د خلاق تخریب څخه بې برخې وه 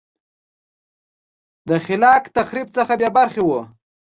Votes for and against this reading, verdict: 2, 0, accepted